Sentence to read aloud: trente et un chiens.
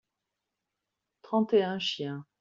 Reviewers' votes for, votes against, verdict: 2, 0, accepted